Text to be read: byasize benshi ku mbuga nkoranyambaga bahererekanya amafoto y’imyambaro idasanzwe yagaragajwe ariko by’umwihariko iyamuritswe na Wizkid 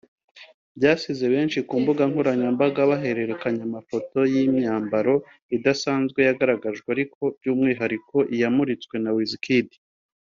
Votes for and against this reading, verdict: 2, 0, accepted